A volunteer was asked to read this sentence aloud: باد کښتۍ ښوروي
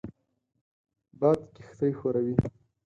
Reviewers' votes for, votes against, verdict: 4, 0, accepted